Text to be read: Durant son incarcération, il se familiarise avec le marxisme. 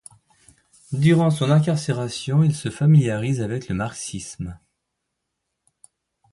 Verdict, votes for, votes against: accepted, 2, 0